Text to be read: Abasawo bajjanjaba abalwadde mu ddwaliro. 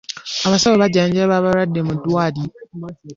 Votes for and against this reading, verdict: 2, 0, accepted